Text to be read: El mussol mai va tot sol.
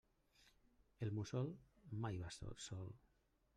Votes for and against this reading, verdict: 1, 2, rejected